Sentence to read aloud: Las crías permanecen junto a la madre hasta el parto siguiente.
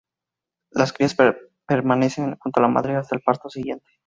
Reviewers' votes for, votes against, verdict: 0, 2, rejected